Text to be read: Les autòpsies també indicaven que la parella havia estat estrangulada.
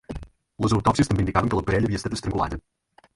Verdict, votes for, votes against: rejected, 2, 4